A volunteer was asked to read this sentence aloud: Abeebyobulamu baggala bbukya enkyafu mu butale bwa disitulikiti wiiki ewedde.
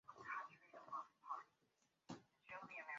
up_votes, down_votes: 1, 2